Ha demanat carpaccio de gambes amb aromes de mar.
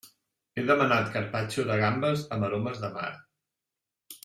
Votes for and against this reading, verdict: 0, 2, rejected